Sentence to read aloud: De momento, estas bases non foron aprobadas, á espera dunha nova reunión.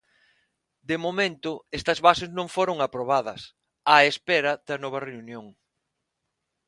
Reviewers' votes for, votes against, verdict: 0, 6, rejected